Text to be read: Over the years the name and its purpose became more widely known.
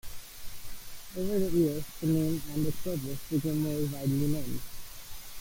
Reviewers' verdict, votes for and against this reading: rejected, 1, 2